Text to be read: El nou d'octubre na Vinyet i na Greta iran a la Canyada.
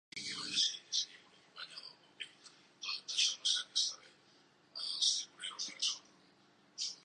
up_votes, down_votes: 0, 2